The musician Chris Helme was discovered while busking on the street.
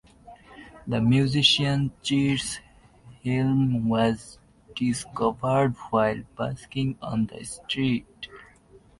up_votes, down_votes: 0, 2